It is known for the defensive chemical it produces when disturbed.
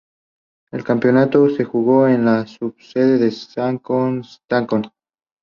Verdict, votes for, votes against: rejected, 0, 2